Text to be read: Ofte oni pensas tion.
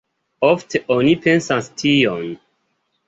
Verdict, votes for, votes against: accepted, 2, 1